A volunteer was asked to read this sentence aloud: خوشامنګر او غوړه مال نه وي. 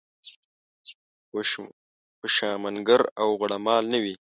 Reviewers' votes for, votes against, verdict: 0, 2, rejected